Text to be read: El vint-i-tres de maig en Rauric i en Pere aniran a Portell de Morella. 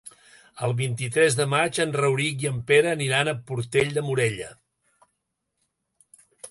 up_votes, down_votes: 3, 0